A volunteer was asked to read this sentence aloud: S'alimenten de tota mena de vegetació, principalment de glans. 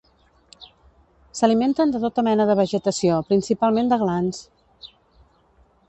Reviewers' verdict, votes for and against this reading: accepted, 2, 0